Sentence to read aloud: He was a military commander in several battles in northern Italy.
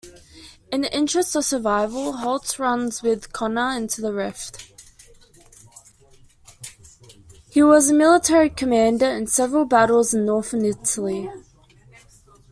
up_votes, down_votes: 0, 2